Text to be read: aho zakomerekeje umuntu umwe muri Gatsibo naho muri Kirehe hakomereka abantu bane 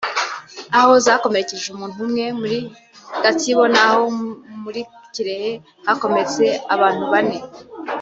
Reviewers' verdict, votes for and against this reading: rejected, 0, 2